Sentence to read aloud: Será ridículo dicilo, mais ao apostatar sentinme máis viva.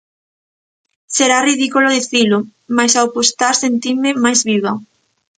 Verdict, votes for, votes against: rejected, 0, 2